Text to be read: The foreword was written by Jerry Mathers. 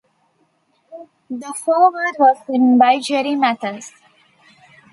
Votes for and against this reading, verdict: 1, 2, rejected